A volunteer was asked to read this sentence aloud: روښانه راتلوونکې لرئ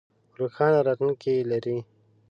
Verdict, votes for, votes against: rejected, 1, 2